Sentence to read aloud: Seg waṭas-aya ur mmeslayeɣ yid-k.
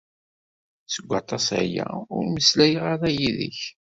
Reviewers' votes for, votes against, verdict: 1, 2, rejected